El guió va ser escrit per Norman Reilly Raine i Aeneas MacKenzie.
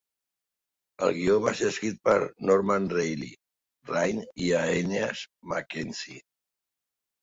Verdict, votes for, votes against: accepted, 2, 0